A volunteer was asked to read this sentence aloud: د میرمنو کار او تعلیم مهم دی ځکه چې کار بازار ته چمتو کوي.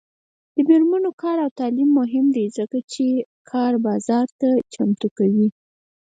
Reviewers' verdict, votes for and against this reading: accepted, 4, 0